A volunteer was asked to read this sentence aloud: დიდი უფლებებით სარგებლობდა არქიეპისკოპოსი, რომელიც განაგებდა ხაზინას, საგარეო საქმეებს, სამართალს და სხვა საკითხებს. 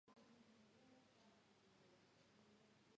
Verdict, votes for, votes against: rejected, 0, 2